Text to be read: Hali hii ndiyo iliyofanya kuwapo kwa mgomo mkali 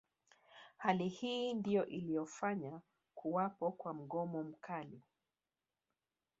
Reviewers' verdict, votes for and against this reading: rejected, 1, 2